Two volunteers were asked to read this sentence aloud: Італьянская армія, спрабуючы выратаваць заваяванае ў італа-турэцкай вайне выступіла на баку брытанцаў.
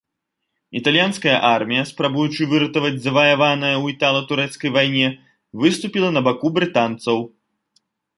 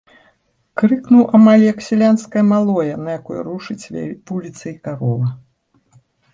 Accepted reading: first